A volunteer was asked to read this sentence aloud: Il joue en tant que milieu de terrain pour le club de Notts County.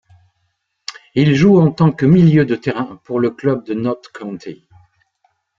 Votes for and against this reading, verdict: 2, 1, accepted